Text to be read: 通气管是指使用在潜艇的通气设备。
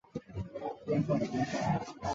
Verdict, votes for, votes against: accepted, 2, 1